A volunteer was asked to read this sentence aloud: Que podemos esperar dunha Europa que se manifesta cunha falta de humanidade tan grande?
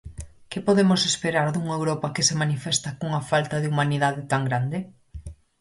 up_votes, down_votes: 4, 0